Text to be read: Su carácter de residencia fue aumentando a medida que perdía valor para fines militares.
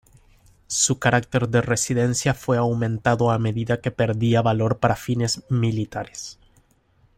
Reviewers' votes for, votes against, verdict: 1, 2, rejected